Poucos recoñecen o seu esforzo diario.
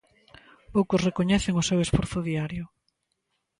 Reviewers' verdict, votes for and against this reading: accepted, 2, 0